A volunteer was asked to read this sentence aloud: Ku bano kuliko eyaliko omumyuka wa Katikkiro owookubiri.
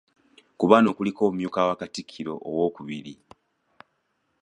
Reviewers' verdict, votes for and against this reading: rejected, 0, 2